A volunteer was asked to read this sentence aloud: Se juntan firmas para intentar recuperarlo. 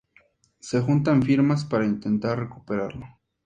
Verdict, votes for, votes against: accepted, 2, 0